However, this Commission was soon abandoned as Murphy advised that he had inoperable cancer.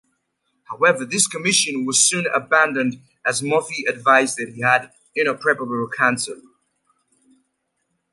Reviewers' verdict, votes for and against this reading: rejected, 0, 2